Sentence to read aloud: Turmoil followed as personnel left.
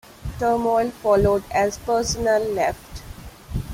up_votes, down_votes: 0, 2